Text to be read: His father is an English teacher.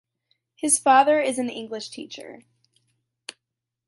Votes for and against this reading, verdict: 2, 0, accepted